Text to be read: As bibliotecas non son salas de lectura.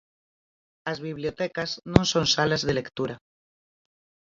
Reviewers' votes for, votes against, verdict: 4, 0, accepted